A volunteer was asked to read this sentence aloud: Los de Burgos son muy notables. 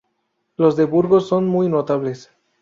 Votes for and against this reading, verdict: 2, 0, accepted